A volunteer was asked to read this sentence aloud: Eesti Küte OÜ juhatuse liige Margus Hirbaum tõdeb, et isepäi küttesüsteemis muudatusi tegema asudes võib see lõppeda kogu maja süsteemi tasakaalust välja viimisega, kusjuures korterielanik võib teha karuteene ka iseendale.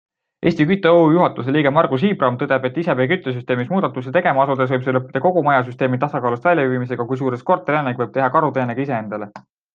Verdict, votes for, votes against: accepted, 2, 0